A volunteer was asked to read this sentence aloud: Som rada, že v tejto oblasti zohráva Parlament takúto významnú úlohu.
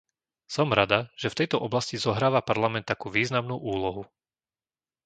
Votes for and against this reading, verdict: 0, 2, rejected